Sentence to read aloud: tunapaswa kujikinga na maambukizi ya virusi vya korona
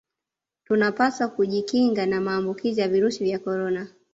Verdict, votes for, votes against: accepted, 2, 1